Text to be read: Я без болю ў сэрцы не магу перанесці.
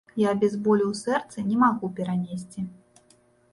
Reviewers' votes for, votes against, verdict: 2, 0, accepted